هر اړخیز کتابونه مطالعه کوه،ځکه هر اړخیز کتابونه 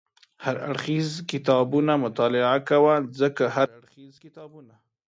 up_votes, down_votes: 1, 2